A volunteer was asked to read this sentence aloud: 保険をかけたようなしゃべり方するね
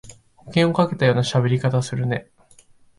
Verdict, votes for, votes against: accepted, 3, 0